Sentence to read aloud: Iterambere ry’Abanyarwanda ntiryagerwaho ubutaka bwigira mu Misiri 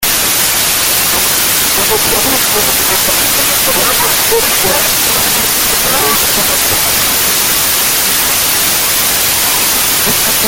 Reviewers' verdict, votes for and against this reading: rejected, 0, 2